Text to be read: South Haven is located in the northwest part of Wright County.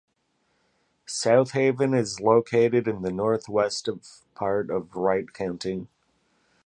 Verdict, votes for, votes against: accepted, 2, 0